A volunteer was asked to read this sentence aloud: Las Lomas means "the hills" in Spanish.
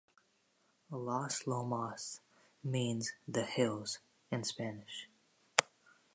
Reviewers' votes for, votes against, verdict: 2, 0, accepted